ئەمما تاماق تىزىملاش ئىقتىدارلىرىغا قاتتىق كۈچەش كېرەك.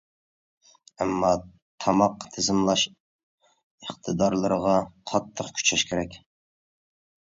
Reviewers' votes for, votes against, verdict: 2, 0, accepted